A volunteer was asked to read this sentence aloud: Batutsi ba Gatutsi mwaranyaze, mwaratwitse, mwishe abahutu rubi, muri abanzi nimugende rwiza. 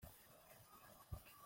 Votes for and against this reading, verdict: 0, 2, rejected